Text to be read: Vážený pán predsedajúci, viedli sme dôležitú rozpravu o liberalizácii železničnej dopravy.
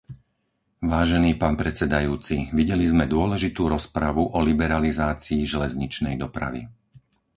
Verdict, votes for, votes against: rejected, 2, 4